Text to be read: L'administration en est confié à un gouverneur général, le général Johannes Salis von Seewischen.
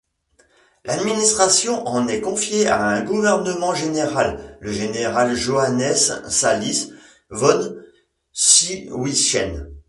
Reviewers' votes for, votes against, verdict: 1, 2, rejected